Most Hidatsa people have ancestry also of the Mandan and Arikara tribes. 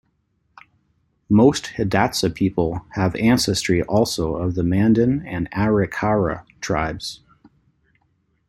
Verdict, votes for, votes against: accepted, 2, 0